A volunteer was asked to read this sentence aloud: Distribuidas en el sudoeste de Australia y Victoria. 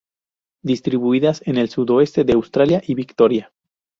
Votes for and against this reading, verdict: 2, 0, accepted